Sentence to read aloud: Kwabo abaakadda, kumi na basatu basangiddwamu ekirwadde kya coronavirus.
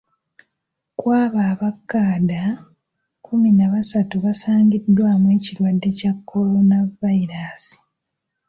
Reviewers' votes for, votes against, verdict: 2, 1, accepted